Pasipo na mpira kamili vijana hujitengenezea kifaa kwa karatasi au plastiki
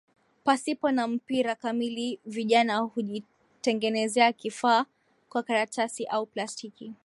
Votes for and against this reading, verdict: 0, 2, rejected